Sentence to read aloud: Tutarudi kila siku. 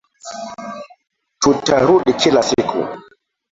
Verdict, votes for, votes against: rejected, 0, 2